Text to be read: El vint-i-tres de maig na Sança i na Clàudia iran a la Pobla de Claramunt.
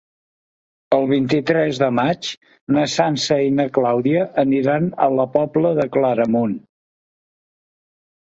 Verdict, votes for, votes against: rejected, 1, 2